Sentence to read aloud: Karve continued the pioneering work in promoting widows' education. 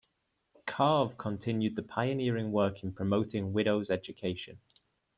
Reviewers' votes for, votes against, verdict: 2, 0, accepted